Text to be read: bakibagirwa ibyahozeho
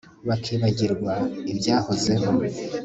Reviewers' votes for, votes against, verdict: 2, 0, accepted